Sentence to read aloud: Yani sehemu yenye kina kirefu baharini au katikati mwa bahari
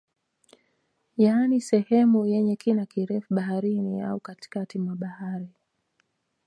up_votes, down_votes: 2, 1